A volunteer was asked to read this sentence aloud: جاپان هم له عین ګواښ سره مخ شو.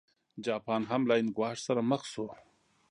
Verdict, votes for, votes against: accepted, 2, 0